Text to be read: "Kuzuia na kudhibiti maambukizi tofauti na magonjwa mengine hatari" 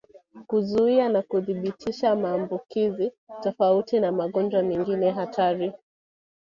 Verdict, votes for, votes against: rejected, 0, 2